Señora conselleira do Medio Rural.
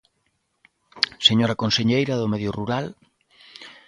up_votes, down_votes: 2, 0